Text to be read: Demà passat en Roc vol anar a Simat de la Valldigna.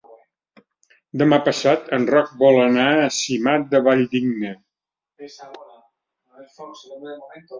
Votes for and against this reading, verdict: 0, 3, rejected